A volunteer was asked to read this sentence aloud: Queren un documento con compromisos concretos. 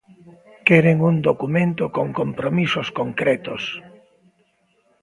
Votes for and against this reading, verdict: 1, 2, rejected